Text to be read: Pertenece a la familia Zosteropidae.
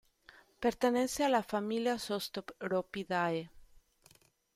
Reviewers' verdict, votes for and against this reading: rejected, 1, 2